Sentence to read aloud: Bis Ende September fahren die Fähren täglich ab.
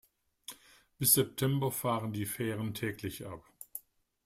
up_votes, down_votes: 0, 2